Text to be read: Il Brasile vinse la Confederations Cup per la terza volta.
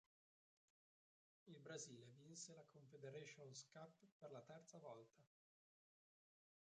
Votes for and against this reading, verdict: 0, 3, rejected